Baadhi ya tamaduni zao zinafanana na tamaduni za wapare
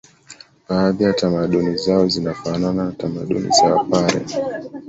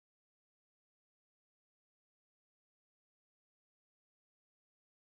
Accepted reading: first